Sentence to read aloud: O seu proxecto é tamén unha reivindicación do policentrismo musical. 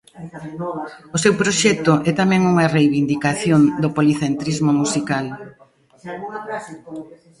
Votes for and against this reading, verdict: 1, 2, rejected